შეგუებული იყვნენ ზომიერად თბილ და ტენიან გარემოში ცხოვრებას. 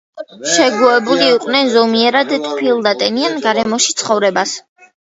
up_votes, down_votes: 0, 2